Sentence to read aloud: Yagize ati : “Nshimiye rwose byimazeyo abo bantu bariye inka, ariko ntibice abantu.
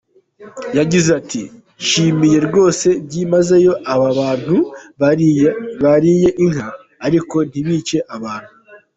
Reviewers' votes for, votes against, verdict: 1, 2, rejected